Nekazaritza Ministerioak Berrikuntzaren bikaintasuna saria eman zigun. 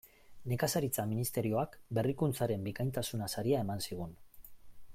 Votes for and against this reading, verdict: 2, 0, accepted